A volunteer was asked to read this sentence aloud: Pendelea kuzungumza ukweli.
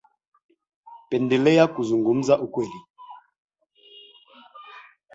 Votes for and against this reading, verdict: 3, 2, accepted